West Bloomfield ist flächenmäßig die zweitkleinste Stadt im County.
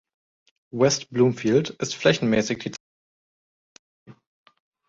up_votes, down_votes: 0, 2